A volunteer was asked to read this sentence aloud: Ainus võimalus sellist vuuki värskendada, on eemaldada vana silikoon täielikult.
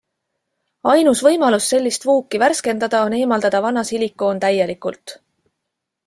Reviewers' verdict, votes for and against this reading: accepted, 2, 0